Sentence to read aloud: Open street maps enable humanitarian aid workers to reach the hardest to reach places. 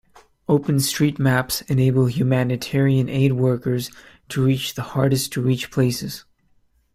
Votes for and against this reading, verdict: 2, 0, accepted